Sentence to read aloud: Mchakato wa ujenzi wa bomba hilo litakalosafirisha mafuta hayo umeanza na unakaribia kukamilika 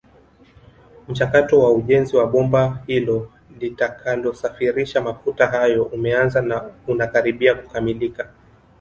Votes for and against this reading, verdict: 1, 2, rejected